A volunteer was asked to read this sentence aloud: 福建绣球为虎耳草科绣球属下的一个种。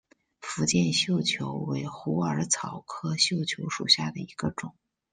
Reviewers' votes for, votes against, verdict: 2, 0, accepted